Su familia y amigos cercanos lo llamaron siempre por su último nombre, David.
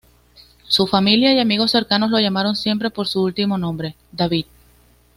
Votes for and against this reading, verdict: 2, 0, accepted